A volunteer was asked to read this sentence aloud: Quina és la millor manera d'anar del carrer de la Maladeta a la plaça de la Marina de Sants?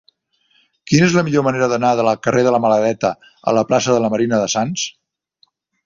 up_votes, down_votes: 2, 0